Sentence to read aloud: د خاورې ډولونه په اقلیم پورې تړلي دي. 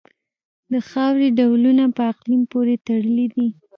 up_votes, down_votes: 1, 2